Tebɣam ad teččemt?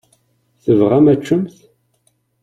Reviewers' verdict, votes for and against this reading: accepted, 2, 0